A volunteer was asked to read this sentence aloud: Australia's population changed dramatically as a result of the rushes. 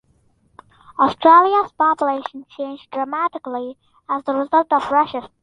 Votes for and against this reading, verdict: 0, 2, rejected